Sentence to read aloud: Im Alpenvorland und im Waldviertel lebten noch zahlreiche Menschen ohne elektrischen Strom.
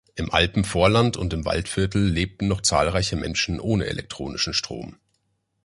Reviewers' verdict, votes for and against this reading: rejected, 0, 2